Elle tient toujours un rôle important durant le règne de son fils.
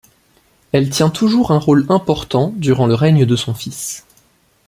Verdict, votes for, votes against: accepted, 2, 0